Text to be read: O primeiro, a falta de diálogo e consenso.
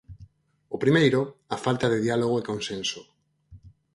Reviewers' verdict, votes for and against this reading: accepted, 4, 0